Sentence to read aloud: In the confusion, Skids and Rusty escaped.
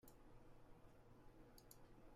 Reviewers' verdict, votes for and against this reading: rejected, 0, 2